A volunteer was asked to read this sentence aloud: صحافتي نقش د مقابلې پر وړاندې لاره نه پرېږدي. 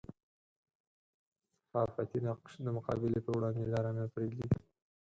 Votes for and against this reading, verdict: 2, 4, rejected